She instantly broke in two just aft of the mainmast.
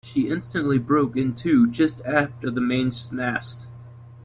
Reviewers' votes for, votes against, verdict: 0, 2, rejected